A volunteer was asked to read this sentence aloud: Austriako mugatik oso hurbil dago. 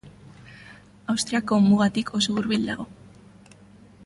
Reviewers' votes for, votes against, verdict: 2, 0, accepted